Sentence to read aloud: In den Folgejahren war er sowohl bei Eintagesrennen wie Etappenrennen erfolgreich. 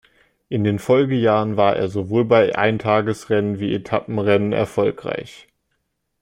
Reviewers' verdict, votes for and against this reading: accepted, 2, 0